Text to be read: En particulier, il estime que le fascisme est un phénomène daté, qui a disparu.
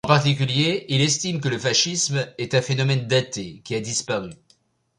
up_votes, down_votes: 1, 2